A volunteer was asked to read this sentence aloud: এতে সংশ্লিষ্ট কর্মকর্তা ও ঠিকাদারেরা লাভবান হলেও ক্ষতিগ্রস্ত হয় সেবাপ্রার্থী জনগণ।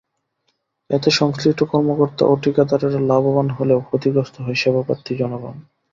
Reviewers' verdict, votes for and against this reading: accepted, 2, 0